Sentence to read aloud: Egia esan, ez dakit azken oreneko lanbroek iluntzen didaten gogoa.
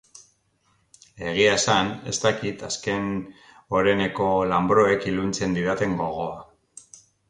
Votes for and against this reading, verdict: 2, 0, accepted